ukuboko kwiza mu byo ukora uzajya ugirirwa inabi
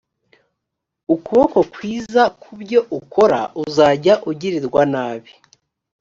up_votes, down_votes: 1, 2